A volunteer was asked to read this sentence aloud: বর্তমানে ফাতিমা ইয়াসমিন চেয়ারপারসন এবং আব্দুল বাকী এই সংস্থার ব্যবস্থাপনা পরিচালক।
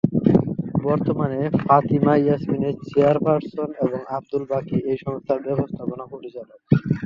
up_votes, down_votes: 2, 0